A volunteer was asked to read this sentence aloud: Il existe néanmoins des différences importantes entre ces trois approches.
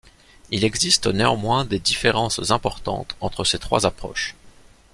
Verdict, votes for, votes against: accepted, 2, 0